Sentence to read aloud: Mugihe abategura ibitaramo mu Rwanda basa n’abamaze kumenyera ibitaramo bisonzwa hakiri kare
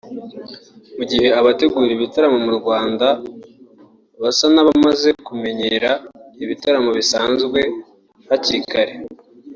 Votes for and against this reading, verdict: 1, 3, rejected